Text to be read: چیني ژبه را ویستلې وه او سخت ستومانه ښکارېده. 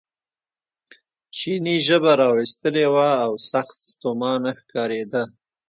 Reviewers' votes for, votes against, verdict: 2, 0, accepted